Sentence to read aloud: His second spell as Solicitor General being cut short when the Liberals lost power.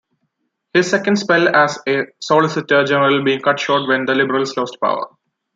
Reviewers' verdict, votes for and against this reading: accepted, 2, 0